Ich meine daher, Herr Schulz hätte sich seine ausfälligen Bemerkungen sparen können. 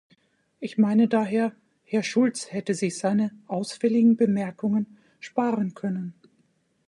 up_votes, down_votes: 2, 0